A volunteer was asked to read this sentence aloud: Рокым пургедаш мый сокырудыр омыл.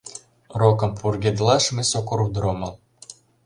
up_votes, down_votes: 0, 2